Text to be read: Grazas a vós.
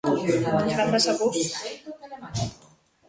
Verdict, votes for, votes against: rejected, 0, 2